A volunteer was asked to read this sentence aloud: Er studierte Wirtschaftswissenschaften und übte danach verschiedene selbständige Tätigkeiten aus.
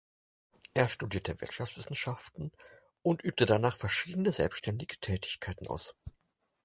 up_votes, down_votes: 4, 0